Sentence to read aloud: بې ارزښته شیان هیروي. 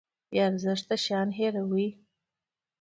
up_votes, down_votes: 2, 0